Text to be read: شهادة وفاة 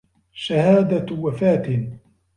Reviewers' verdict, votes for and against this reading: accepted, 2, 0